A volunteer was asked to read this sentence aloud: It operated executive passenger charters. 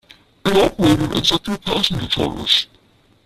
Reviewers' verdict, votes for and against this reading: rejected, 0, 2